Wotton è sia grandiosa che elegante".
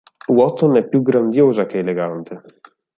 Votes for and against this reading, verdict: 0, 4, rejected